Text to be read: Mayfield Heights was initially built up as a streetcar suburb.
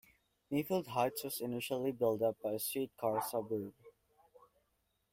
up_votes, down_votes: 1, 2